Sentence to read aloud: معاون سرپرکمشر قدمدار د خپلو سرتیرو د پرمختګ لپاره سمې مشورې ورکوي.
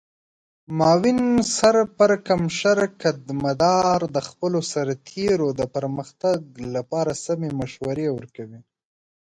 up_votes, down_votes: 1, 2